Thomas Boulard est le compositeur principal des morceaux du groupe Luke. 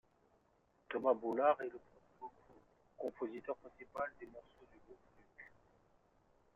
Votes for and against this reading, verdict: 1, 2, rejected